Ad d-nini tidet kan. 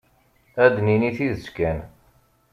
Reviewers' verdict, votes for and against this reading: accepted, 2, 0